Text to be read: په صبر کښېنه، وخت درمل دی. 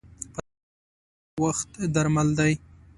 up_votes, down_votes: 2, 1